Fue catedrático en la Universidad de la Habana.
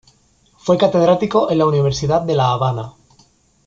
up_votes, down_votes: 2, 0